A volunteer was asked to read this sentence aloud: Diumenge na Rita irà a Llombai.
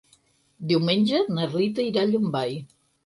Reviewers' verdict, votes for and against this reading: accepted, 6, 0